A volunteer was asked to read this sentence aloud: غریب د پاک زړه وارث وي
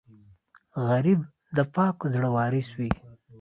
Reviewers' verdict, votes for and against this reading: accepted, 2, 0